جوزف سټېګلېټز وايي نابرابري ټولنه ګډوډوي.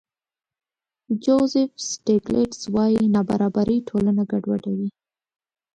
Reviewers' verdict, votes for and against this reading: accepted, 2, 0